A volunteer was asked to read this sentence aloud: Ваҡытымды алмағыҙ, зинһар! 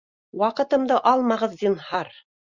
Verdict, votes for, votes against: rejected, 1, 2